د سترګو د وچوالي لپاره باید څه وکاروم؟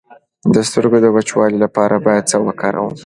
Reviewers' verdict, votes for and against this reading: accepted, 2, 0